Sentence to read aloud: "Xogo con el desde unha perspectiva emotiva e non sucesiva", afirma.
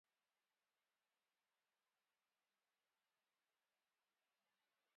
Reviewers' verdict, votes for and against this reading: rejected, 0, 4